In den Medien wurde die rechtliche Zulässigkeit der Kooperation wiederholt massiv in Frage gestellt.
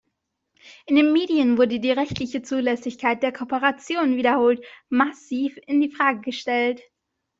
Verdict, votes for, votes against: rejected, 1, 2